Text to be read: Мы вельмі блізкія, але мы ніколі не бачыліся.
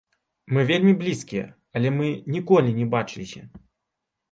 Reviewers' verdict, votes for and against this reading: rejected, 1, 2